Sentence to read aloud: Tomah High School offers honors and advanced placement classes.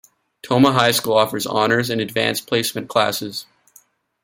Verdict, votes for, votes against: accepted, 2, 0